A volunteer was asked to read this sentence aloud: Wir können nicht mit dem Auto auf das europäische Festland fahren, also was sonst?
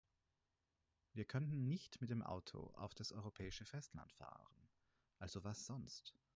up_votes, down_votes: 0, 4